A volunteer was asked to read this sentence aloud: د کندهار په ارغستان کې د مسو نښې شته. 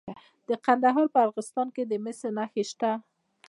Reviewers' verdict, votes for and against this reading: rejected, 1, 2